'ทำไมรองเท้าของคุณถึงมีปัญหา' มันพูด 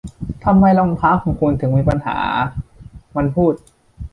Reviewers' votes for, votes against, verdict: 2, 0, accepted